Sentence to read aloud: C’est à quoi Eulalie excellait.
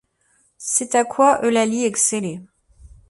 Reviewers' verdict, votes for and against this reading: accepted, 2, 0